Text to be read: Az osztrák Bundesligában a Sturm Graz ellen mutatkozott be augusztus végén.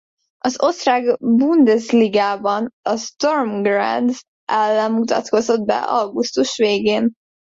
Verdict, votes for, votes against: rejected, 0, 2